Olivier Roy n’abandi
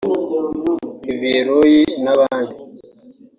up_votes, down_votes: 1, 2